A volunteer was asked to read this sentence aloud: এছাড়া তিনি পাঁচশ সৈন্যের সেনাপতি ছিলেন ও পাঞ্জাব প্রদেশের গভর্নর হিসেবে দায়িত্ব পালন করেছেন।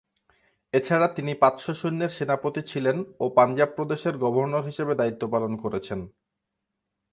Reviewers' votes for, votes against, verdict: 4, 0, accepted